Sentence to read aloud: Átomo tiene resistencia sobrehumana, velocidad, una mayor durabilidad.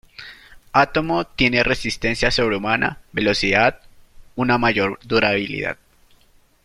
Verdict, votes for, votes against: accepted, 3, 2